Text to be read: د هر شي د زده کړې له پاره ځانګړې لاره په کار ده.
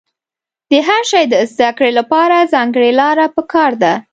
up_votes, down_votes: 2, 0